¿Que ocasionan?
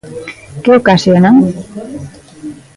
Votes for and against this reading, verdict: 1, 2, rejected